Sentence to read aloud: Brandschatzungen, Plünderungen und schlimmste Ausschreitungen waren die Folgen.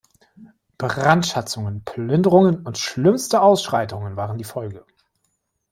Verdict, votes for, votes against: rejected, 1, 2